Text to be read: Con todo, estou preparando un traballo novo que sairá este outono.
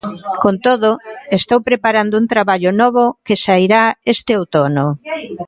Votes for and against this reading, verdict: 2, 0, accepted